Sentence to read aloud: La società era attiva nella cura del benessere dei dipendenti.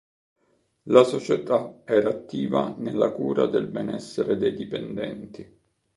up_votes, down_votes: 2, 0